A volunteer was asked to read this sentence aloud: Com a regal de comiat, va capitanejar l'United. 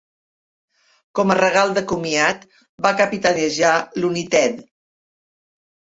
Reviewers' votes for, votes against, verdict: 0, 2, rejected